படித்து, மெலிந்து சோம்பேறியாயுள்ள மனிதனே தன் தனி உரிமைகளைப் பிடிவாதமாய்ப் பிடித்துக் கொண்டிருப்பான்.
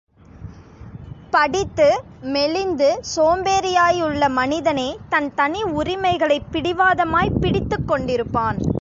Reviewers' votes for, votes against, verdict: 2, 0, accepted